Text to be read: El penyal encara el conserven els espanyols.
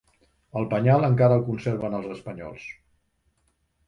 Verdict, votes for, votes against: accepted, 3, 0